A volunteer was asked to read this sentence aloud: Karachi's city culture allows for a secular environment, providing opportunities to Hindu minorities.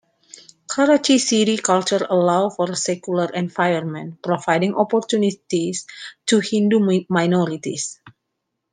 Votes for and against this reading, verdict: 2, 1, accepted